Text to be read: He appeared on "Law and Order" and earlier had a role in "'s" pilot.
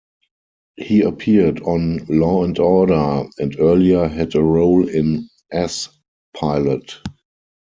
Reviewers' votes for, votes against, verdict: 0, 4, rejected